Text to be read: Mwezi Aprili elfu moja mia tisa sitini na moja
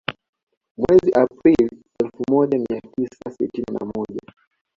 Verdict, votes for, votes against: accepted, 2, 0